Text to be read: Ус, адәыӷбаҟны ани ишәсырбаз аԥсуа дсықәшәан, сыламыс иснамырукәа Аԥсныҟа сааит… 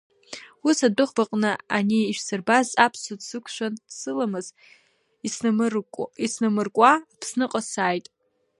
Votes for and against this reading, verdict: 0, 2, rejected